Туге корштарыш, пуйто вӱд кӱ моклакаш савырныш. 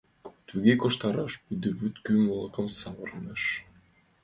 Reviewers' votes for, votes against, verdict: 1, 2, rejected